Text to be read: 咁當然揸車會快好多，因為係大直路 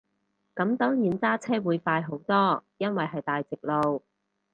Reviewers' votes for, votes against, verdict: 2, 2, rejected